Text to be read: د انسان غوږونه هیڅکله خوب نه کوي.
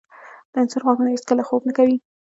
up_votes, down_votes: 1, 2